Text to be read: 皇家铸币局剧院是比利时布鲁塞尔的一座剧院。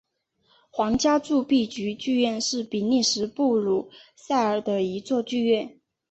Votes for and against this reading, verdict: 1, 2, rejected